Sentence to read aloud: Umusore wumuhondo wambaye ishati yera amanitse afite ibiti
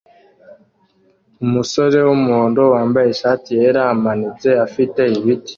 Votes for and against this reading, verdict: 2, 0, accepted